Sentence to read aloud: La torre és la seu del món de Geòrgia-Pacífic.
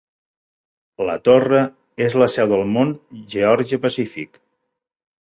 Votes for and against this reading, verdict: 1, 2, rejected